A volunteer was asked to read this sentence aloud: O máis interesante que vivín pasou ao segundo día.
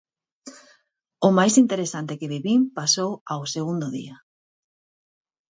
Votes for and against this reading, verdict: 4, 0, accepted